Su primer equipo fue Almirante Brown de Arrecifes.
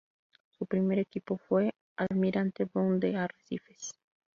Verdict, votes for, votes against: rejected, 0, 2